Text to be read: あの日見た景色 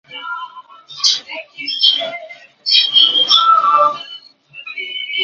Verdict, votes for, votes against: rejected, 0, 2